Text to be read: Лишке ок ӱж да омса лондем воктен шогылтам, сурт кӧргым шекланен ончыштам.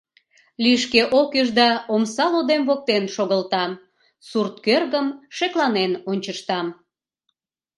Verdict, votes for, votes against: rejected, 1, 2